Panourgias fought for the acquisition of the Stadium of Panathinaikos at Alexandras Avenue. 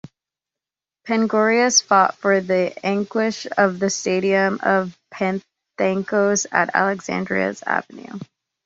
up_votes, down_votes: 0, 2